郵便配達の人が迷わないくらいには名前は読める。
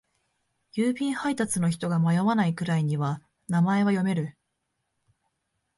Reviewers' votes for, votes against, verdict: 2, 0, accepted